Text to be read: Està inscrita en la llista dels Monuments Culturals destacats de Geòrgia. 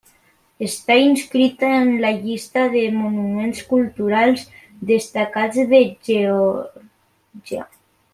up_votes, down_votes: 1, 2